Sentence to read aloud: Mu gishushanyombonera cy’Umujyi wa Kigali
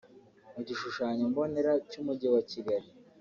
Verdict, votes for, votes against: accepted, 2, 0